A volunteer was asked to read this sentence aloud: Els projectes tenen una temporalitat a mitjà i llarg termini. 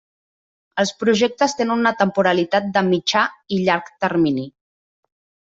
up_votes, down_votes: 0, 2